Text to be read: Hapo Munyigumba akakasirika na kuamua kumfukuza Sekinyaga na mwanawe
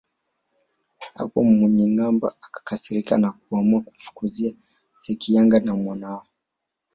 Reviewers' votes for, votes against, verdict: 1, 2, rejected